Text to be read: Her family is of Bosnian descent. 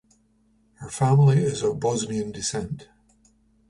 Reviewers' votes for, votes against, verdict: 2, 0, accepted